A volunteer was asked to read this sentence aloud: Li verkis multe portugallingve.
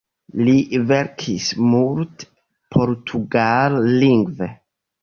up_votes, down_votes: 2, 1